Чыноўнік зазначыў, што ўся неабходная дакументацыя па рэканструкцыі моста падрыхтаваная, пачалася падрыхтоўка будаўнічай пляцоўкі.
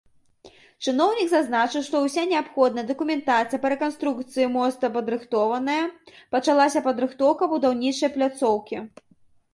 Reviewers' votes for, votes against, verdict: 0, 3, rejected